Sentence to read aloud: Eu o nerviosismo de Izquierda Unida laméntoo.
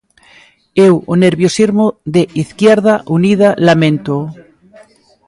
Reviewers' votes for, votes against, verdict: 1, 2, rejected